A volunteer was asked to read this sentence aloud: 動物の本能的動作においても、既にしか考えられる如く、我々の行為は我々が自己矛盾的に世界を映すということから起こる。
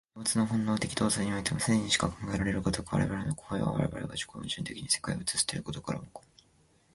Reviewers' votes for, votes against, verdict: 1, 2, rejected